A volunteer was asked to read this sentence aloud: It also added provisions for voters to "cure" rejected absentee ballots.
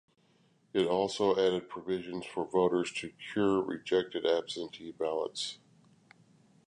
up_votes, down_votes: 2, 0